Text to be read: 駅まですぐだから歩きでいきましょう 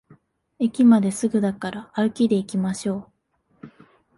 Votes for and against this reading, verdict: 4, 0, accepted